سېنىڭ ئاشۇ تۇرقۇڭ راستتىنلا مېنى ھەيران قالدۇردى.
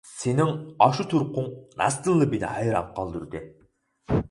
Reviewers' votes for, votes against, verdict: 2, 4, rejected